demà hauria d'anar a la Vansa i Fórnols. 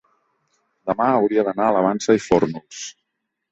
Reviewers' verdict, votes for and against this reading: accepted, 2, 0